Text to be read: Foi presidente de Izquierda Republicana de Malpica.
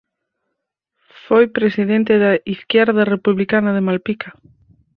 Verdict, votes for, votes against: rejected, 0, 4